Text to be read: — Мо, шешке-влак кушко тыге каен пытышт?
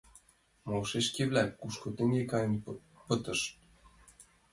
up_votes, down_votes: 0, 2